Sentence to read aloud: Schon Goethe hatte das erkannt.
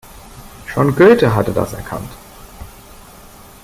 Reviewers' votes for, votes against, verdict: 3, 0, accepted